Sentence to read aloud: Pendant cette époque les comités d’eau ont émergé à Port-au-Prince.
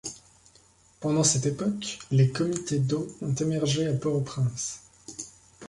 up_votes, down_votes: 2, 0